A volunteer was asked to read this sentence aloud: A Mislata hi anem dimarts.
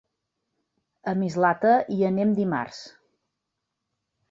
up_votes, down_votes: 3, 0